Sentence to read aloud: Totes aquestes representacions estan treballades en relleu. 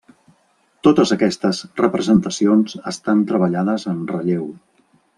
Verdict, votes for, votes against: accepted, 3, 0